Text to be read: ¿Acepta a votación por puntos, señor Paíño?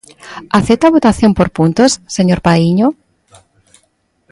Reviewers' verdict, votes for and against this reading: rejected, 0, 2